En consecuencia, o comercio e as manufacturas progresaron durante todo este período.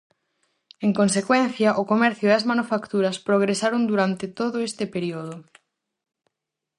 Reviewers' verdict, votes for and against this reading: rejected, 2, 2